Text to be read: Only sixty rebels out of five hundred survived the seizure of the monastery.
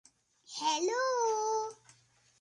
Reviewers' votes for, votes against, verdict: 0, 2, rejected